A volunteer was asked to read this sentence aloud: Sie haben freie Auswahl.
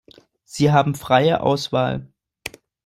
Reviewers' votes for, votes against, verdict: 2, 0, accepted